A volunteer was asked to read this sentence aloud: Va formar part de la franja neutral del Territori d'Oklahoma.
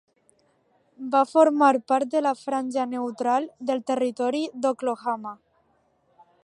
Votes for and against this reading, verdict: 0, 2, rejected